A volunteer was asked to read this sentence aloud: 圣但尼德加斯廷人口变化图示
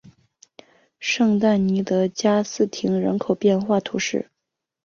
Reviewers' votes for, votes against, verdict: 4, 0, accepted